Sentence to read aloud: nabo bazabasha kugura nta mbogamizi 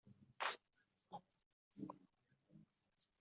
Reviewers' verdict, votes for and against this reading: rejected, 0, 2